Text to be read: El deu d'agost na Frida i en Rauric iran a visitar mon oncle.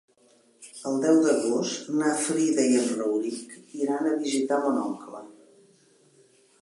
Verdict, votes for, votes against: accepted, 3, 1